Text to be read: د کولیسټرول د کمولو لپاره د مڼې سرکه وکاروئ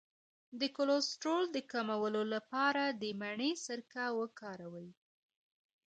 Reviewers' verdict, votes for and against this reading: rejected, 0, 2